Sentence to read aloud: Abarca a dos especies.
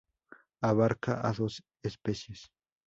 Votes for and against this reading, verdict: 2, 0, accepted